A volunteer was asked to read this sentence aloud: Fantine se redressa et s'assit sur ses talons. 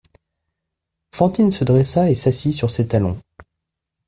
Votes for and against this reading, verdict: 1, 2, rejected